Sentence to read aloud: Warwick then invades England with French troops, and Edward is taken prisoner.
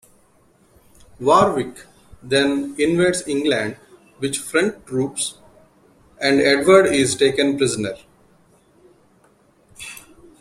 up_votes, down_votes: 2, 0